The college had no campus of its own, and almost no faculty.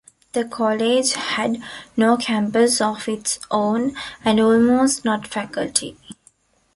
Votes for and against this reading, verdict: 1, 2, rejected